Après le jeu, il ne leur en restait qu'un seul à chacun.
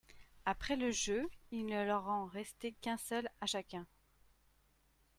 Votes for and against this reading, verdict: 2, 0, accepted